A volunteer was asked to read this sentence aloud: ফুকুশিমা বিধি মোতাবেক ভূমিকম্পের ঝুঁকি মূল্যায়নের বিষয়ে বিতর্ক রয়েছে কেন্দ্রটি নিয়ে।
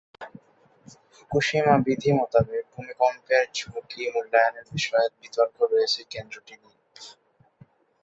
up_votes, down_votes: 0, 2